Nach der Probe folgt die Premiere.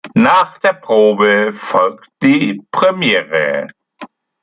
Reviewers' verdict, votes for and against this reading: accepted, 2, 0